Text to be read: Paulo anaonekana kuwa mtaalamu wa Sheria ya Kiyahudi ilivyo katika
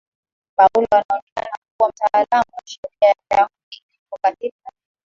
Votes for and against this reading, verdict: 1, 2, rejected